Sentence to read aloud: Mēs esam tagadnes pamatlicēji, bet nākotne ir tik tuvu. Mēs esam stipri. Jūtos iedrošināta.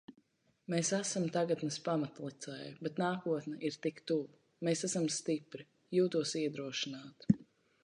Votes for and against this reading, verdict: 2, 1, accepted